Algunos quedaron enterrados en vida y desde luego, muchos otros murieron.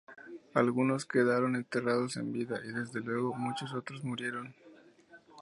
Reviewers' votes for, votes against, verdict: 0, 2, rejected